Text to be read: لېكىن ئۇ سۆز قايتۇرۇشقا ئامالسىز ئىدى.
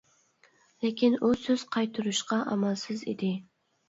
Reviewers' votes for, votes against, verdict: 2, 0, accepted